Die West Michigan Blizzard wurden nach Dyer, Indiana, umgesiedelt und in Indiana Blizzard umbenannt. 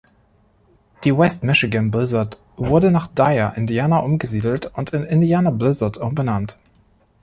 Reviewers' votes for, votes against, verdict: 0, 2, rejected